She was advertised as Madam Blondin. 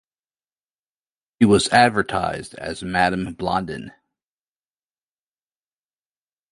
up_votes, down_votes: 2, 0